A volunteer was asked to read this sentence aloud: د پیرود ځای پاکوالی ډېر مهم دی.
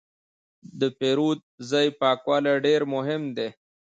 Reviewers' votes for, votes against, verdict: 2, 1, accepted